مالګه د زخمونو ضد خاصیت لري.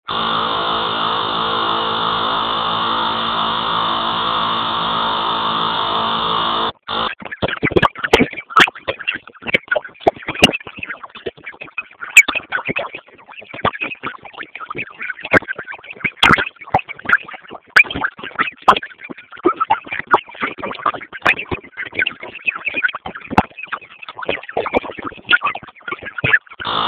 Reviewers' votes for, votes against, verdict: 0, 2, rejected